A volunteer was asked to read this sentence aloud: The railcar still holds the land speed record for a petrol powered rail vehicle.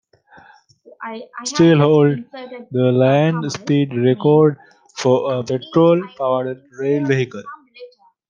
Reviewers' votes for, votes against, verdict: 1, 2, rejected